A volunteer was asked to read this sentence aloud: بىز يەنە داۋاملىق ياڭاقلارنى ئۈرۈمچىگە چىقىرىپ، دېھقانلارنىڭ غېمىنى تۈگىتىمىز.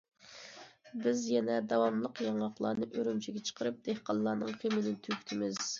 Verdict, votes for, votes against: accepted, 2, 0